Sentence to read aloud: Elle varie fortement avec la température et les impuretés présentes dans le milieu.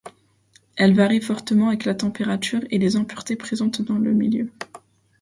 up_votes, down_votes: 2, 0